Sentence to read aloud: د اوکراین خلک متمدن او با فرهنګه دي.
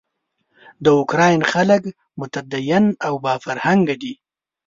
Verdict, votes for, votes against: rejected, 1, 2